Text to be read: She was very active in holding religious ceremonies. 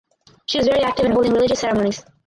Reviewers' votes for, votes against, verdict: 2, 2, rejected